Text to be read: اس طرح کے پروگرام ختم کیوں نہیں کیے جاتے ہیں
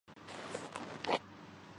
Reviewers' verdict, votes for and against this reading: rejected, 0, 2